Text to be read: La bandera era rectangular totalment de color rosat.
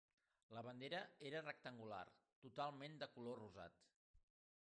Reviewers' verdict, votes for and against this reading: accepted, 2, 0